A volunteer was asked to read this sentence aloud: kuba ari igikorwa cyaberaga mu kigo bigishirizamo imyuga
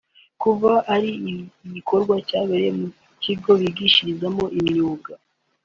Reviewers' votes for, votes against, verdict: 1, 3, rejected